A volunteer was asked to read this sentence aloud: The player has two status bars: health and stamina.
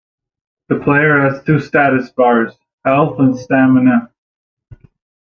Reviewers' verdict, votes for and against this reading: accepted, 2, 0